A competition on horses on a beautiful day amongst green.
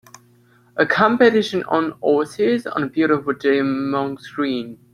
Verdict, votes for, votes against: rejected, 1, 2